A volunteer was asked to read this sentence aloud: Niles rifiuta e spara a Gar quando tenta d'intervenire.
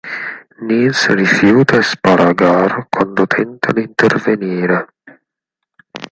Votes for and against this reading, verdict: 2, 4, rejected